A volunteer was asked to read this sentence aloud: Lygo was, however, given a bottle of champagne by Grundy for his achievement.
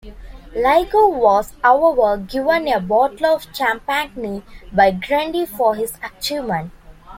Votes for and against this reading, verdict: 0, 2, rejected